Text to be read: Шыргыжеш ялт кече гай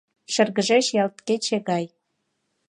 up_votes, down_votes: 2, 0